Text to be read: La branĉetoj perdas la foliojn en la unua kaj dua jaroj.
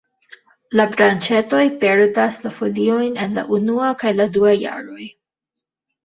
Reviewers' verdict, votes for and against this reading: rejected, 1, 2